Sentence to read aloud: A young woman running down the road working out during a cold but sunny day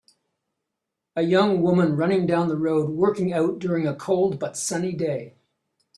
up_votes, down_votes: 3, 0